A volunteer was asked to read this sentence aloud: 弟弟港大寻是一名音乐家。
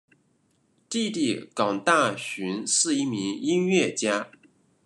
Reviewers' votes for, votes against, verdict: 2, 0, accepted